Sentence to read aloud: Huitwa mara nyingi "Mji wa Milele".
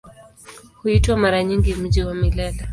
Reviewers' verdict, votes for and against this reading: rejected, 0, 2